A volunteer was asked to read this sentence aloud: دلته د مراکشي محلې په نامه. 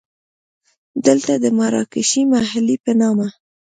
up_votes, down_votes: 2, 0